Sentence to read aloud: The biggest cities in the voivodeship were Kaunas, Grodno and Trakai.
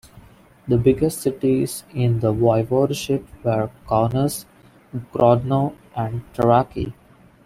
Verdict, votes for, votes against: rejected, 0, 2